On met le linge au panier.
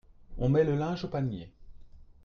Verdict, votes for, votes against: accepted, 2, 1